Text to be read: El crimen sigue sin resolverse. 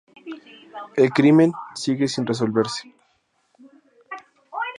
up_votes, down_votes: 6, 0